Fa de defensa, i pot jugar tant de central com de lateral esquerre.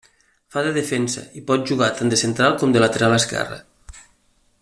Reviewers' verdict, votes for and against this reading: accepted, 2, 0